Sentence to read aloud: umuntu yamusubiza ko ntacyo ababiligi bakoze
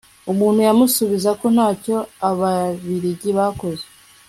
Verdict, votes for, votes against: accepted, 2, 0